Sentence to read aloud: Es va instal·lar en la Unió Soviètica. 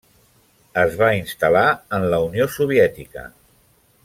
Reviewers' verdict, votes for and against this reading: accepted, 3, 0